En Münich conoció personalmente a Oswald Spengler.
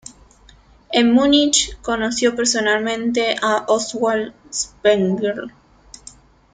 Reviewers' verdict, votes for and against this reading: accepted, 2, 0